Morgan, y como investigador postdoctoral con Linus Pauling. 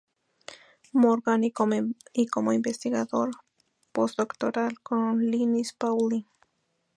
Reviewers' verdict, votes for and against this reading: accepted, 2, 0